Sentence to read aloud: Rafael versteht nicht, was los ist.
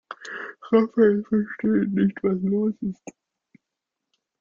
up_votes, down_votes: 1, 2